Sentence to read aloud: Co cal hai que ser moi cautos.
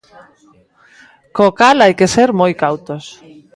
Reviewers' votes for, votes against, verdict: 2, 0, accepted